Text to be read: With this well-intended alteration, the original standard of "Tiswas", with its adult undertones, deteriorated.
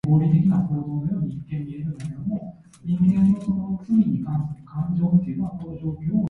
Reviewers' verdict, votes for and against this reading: rejected, 0, 2